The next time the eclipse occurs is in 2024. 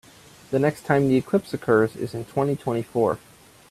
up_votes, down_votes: 0, 2